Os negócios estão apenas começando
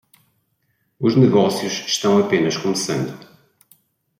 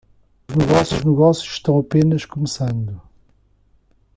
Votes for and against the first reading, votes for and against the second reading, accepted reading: 2, 0, 0, 2, first